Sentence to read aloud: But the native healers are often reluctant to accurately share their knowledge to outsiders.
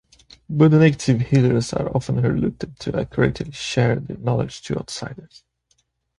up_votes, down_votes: 0, 2